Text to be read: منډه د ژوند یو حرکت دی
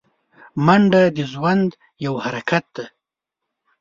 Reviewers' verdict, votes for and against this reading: accepted, 2, 0